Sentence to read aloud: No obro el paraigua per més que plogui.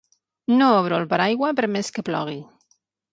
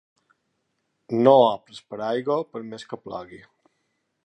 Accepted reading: first